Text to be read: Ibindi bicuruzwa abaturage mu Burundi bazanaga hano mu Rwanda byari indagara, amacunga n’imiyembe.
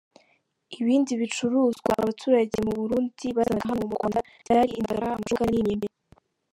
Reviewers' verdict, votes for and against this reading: rejected, 0, 2